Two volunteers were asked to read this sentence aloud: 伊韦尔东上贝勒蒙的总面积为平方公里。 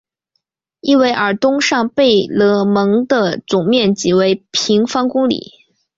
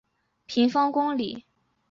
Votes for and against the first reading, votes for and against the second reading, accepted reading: 6, 2, 2, 2, first